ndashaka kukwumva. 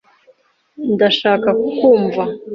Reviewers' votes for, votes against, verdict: 1, 2, rejected